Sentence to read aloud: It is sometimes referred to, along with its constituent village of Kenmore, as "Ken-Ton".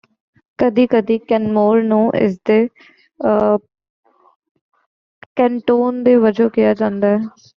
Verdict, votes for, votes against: rejected, 1, 2